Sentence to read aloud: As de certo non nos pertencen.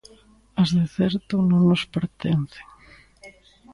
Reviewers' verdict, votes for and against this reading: rejected, 1, 2